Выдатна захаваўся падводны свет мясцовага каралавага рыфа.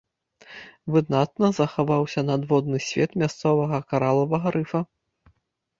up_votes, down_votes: 0, 2